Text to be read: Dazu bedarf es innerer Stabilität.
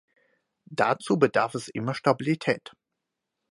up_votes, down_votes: 2, 4